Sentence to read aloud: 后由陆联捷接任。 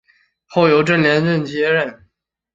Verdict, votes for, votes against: rejected, 2, 2